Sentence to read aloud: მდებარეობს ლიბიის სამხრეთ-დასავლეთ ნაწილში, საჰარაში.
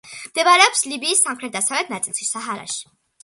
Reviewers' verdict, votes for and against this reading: accepted, 2, 0